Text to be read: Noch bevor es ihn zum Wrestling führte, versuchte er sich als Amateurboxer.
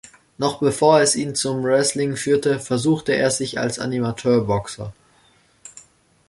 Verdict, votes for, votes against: rejected, 0, 2